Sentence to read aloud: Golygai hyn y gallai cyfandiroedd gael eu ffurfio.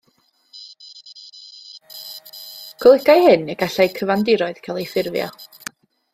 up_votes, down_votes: 1, 2